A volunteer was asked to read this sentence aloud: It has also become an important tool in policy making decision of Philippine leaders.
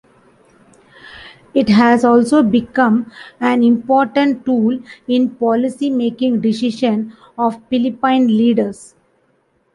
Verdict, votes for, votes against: rejected, 2, 3